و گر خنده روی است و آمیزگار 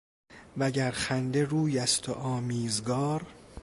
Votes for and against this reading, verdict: 2, 0, accepted